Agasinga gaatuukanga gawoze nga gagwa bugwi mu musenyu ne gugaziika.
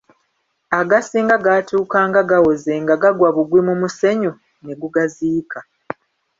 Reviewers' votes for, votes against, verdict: 0, 2, rejected